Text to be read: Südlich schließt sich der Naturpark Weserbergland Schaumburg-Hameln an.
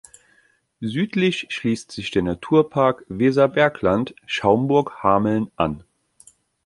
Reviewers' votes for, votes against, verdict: 2, 0, accepted